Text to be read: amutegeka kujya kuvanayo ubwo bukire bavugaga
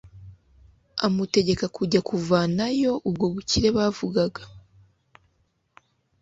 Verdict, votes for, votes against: accepted, 2, 0